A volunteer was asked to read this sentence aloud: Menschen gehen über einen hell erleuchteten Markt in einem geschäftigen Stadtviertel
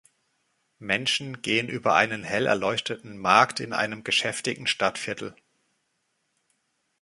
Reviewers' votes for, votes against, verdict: 0, 2, rejected